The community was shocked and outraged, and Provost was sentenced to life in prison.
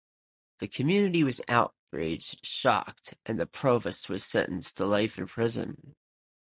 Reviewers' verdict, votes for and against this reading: rejected, 0, 2